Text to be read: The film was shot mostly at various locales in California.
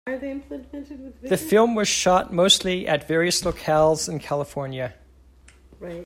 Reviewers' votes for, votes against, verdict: 0, 2, rejected